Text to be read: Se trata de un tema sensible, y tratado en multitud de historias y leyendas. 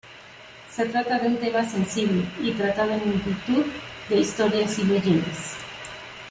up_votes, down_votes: 1, 2